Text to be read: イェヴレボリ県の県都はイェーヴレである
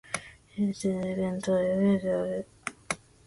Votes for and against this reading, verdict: 0, 2, rejected